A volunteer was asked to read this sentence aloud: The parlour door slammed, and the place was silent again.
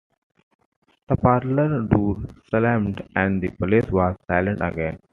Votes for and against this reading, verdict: 0, 2, rejected